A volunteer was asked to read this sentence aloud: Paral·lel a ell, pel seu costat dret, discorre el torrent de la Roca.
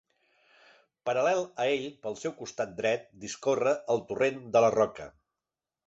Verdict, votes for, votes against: accepted, 3, 0